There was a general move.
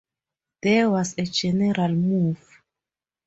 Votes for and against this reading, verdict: 2, 0, accepted